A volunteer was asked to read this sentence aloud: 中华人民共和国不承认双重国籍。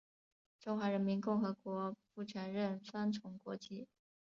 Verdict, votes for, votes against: accepted, 3, 0